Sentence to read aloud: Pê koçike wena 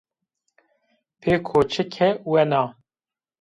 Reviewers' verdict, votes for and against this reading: rejected, 1, 2